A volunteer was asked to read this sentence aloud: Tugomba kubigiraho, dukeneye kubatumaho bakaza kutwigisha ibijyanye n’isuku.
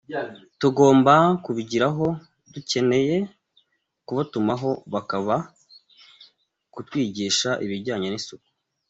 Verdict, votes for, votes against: rejected, 0, 2